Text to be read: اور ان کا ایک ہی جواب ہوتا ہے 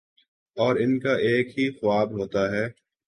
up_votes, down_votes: 0, 2